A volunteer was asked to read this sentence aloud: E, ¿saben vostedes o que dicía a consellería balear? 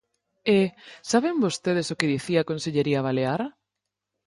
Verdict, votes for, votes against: accepted, 4, 0